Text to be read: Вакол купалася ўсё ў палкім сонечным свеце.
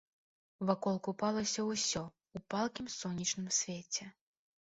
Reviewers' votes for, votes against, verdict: 1, 2, rejected